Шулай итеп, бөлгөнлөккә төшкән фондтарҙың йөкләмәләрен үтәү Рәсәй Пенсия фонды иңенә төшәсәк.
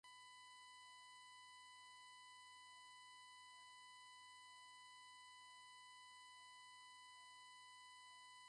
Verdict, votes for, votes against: rejected, 1, 2